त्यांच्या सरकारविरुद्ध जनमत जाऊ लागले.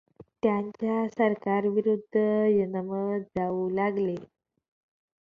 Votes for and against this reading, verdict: 0, 2, rejected